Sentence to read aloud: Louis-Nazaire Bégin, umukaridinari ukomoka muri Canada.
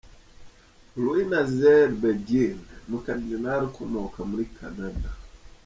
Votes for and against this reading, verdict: 0, 2, rejected